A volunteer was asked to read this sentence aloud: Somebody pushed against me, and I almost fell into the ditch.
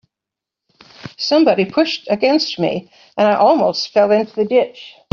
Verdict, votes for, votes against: accepted, 3, 0